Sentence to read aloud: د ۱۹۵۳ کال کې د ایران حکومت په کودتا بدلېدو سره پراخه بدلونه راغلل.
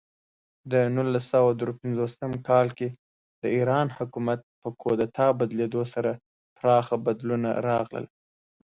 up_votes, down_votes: 0, 2